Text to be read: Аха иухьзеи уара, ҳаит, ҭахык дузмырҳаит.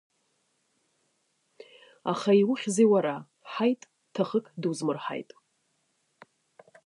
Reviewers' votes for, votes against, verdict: 1, 2, rejected